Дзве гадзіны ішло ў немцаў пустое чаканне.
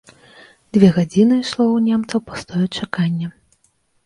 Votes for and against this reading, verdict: 1, 2, rejected